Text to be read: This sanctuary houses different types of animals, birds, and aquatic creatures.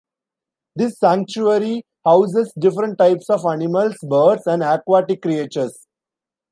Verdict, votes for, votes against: rejected, 1, 2